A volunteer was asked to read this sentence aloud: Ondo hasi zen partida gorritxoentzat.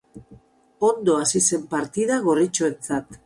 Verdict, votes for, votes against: accepted, 2, 0